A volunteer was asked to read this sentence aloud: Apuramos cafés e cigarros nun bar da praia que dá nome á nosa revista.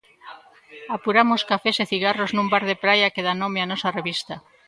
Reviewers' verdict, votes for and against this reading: rejected, 0, 2